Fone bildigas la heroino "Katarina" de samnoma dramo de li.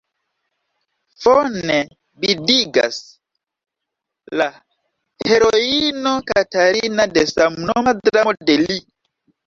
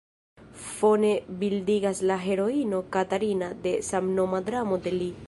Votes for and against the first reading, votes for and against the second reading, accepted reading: 1, 2, 2, 1, second